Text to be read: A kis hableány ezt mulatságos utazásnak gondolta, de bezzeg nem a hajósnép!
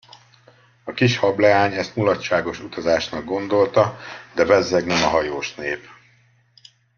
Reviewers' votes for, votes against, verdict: 2, 0, accepted